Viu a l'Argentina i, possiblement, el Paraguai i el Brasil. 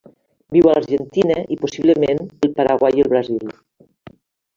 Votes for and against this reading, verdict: 1, 2, rejected